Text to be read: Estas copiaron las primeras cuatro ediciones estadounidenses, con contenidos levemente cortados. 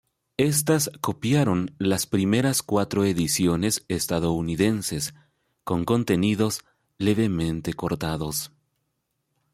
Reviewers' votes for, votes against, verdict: 2, 0, accepted